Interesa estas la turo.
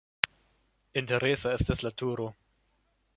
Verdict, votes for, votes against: accepted, 2, 0